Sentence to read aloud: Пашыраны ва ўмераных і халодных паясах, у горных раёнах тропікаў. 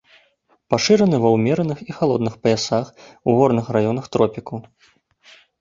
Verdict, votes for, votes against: accepted, 2, 1